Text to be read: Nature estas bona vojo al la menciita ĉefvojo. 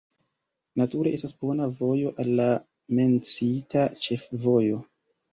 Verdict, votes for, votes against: accepted, 2, 1